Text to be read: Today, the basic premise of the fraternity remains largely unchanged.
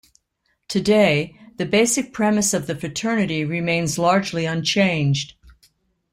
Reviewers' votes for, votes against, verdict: 2, 0, accepted